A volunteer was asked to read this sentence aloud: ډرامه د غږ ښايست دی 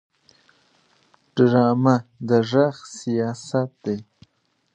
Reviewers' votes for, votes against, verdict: 1, 2, rejected